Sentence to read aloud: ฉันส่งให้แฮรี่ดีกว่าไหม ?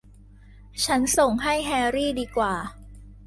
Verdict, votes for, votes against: rejected, 1, 2